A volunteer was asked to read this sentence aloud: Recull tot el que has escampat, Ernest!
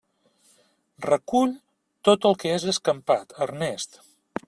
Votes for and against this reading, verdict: 2, 0, accepted